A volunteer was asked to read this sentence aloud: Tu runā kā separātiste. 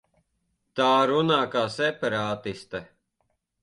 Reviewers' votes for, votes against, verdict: 0, 3, rejected